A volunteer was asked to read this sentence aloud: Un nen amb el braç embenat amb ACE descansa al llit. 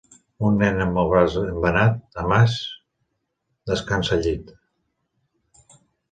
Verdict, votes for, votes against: rejected, 1, 2